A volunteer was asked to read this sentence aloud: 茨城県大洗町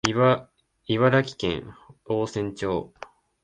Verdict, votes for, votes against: rejected, 1, 2